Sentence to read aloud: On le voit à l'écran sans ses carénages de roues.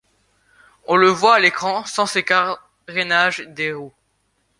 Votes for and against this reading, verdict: 0, 2, rejected